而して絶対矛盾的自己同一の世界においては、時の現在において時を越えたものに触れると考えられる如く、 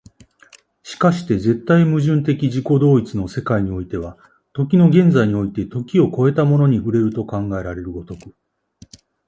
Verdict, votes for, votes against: accepted, 2, 0